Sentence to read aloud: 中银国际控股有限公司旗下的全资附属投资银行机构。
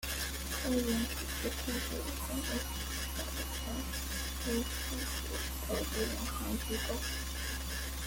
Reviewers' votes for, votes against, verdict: 0, 2, rejected